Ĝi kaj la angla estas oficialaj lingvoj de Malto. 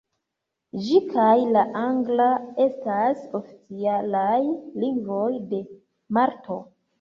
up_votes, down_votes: 0, 2